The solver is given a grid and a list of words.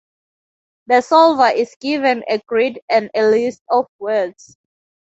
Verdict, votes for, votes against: accepted, 2, 0